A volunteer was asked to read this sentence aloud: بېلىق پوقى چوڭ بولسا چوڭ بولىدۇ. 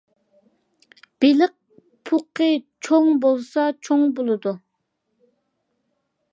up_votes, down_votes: 2, 0